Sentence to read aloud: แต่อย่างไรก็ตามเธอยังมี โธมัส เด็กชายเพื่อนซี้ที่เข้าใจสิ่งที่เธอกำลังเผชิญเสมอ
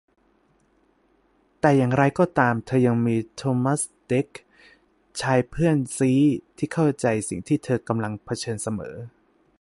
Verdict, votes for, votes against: rejected, 1, 2